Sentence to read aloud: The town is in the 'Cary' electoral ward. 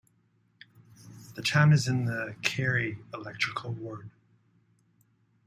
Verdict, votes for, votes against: rejected, 1, 2